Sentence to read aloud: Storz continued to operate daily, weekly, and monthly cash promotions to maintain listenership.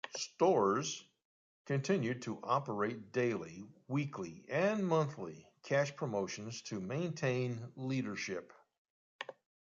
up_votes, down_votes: 1, 2